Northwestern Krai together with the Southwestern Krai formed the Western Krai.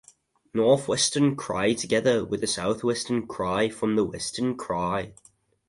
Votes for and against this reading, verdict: 4, 0, accepted